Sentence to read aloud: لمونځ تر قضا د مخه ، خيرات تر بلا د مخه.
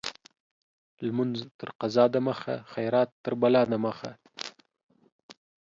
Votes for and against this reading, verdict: 2, 0, accepted